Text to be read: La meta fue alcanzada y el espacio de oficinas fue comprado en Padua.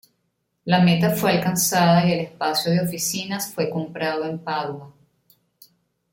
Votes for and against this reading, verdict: 2, 0, accepted